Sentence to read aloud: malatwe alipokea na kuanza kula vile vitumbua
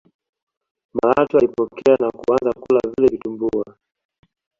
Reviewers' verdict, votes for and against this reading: accepted, 2, 1